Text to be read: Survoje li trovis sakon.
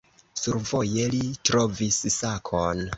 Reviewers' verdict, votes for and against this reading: accepted, 2, 0